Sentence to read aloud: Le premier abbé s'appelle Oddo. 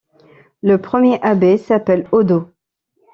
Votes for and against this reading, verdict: 2, 0, accepted